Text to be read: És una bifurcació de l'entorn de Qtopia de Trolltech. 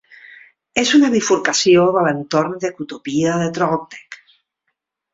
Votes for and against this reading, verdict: 2, 0, accepted